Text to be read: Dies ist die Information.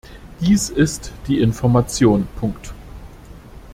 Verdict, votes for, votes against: rejected, 0, 2